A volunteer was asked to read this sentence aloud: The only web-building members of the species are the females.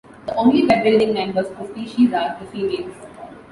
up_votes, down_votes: 2, 1